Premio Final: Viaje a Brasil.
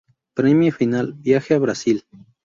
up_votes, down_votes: 0, 2